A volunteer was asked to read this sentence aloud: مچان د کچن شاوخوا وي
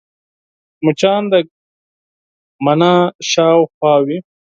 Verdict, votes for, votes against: rejected, 4, 6